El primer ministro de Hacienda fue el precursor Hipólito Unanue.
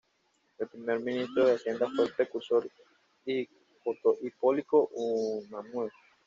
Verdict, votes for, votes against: rejected, 1, 2